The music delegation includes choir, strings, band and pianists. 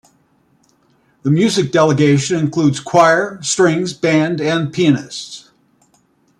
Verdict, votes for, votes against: accepted, 2, 0